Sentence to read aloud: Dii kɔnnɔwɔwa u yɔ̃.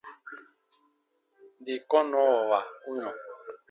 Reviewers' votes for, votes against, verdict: 2, 0, accepted